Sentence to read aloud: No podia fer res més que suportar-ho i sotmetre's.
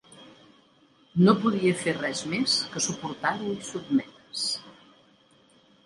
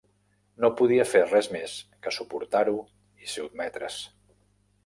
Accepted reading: first